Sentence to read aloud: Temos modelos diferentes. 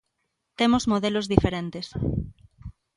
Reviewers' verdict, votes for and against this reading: accepted, 2, 0